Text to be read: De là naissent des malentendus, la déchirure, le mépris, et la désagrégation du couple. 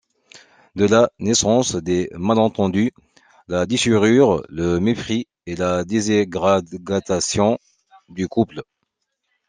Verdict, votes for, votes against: rejected, 1, 2